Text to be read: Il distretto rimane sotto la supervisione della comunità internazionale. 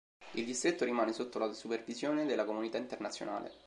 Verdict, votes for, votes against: accepted, 2, 0